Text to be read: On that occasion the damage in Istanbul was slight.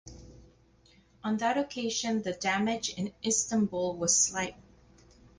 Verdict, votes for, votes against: accepted, 4, 2